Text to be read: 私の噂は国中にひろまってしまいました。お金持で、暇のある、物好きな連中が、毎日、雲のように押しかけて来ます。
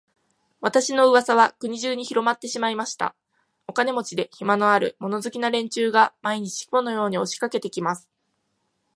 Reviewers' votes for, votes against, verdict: 0, 2, rejected